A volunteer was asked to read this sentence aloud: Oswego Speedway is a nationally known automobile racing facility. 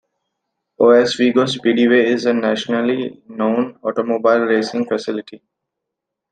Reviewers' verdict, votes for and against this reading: accepted, 2, 0